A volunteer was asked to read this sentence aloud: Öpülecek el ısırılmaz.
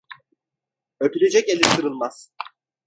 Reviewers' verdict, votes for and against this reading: accepted, 2, 1